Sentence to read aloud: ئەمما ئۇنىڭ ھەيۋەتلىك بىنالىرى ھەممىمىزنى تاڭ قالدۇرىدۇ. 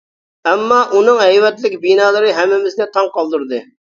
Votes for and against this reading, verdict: 1, 2, rejected